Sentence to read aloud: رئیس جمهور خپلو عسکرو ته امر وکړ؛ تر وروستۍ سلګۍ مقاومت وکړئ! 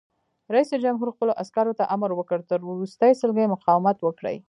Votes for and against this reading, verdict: 1, 2, rejected